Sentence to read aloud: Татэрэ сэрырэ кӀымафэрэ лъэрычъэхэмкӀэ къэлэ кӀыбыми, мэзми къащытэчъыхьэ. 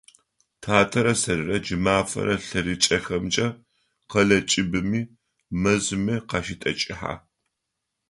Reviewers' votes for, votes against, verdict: 1, 2, rejected